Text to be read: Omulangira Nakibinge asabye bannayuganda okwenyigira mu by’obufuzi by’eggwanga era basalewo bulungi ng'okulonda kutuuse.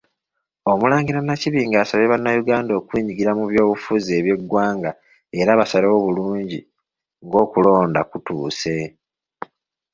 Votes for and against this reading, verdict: 1, 2, rejected